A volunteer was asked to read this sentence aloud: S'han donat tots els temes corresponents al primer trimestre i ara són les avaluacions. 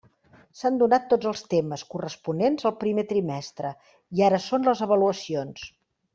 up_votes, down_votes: 3, 0